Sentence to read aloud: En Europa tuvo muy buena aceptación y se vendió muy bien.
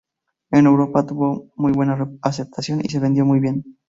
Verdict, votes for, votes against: rejected, 0, 2